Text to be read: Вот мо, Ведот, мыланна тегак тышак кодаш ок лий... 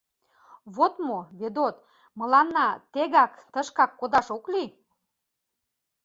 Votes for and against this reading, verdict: 1, 2, rejected